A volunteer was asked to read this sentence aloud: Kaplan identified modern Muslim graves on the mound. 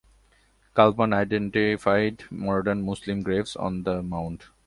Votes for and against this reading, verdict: 2, 1, accepted